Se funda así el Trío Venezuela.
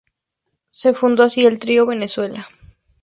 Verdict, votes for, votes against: accepted, 2, 0